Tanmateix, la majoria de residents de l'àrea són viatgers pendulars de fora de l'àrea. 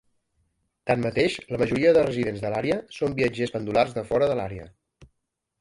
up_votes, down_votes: 2, 1